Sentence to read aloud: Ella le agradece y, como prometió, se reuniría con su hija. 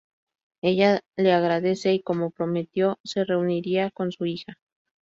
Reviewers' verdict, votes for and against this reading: accepted, 2, 0